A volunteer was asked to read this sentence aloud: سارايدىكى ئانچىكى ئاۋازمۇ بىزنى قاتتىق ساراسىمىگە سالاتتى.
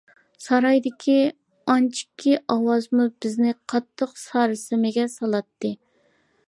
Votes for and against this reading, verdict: 2, 1, accepted